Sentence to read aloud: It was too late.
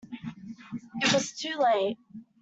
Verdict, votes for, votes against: accepted, 2, 1